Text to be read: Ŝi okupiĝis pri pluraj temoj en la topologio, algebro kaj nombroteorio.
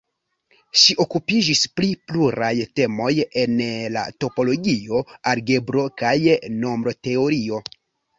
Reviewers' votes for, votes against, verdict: 2, 0, accepted